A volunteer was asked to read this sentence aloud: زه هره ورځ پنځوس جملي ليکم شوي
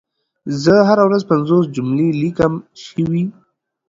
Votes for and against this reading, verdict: 2, 0, accepted